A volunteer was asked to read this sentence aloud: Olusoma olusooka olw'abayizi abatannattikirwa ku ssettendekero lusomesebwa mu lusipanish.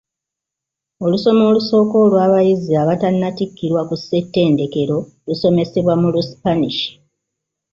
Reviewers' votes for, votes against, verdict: 1, 2, rejected